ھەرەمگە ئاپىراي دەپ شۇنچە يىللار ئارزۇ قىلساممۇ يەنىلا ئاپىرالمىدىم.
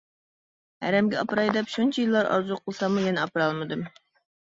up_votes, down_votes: 1, 2